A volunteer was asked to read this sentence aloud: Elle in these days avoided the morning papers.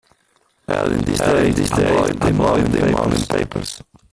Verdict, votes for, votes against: rejected, 0, 2